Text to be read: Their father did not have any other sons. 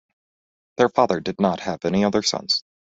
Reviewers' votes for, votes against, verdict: 2, 0, accepted